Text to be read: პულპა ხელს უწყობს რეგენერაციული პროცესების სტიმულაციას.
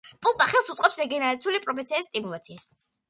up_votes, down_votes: 0, 2